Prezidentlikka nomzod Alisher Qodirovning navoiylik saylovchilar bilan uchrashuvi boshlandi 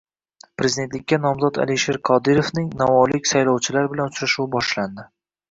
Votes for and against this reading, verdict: 2, 0, accepted